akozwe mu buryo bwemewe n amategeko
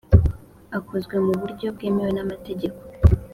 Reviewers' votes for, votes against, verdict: 3, 0, accepted